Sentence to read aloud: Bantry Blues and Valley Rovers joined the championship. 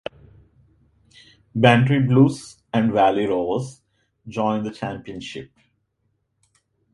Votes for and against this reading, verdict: 2, 0, accepted